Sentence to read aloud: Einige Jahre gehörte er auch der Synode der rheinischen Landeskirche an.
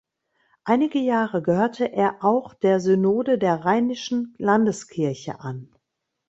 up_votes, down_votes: 2, 0